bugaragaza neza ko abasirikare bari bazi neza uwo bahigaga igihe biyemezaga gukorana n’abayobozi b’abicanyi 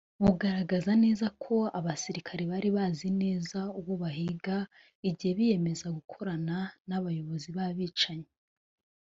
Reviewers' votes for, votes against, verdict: 0, 2, rejected